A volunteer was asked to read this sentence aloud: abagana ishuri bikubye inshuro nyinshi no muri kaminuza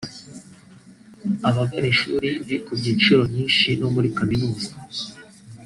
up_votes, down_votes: 1, 2